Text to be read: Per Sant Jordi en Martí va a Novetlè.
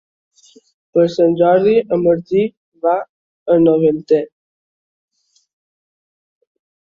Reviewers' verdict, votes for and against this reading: accepted, 2, 1